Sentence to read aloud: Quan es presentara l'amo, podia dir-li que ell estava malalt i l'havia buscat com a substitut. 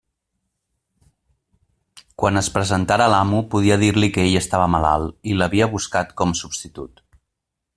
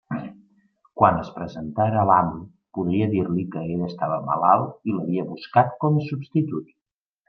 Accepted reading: second